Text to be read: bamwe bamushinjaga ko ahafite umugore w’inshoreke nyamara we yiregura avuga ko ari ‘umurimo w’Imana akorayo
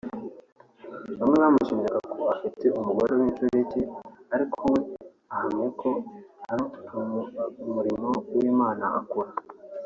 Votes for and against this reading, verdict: 1, 2, rejected